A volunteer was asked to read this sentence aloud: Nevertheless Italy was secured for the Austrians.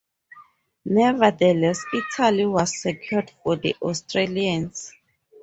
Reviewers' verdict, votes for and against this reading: rejected, 0, 2